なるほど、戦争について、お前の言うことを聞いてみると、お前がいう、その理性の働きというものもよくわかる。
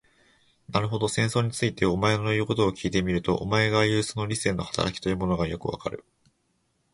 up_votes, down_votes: 2, 1